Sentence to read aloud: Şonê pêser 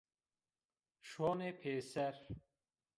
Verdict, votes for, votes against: rejected, 1, 2